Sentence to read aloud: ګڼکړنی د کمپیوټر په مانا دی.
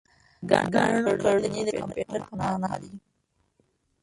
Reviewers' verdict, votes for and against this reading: rejected, 0, 2